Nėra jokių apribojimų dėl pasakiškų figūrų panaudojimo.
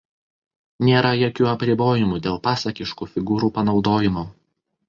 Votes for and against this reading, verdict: 2, 0, accepted